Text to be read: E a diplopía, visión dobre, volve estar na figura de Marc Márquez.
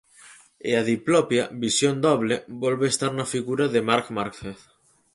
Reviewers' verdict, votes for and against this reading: rejected, 0, 6